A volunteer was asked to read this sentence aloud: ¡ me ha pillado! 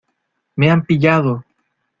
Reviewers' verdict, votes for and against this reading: rejected, 1, 2